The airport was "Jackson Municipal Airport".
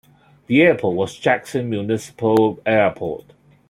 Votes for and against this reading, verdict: 2, 0, accepted